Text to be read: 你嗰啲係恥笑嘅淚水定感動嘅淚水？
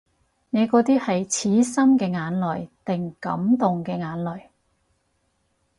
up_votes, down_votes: 0, 4